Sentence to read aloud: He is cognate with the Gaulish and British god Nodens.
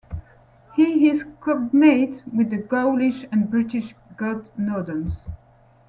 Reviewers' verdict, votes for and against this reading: rejected, 1, 2